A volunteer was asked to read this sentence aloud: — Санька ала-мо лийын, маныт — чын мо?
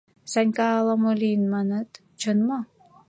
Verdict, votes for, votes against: accepted, 2, 0